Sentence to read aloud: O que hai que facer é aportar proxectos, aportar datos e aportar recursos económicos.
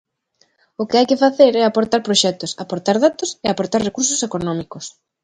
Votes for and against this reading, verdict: 2, 0, accepted